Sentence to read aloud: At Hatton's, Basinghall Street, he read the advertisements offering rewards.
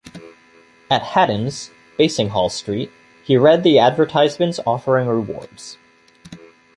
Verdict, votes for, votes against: accepted, 2, 0